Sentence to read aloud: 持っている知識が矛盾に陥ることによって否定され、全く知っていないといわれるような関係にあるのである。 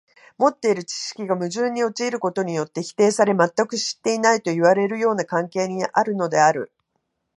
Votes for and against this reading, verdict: 2, 1, accepted